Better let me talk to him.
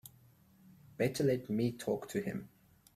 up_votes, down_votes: 3, 0